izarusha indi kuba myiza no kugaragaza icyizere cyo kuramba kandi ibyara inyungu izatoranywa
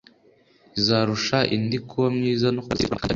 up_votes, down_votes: 3, 0